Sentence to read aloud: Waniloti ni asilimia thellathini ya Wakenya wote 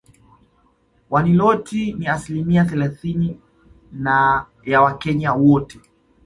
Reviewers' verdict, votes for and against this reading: rejected, 0, 2